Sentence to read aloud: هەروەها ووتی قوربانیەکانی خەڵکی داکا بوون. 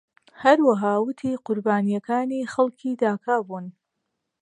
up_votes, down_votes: 2, 0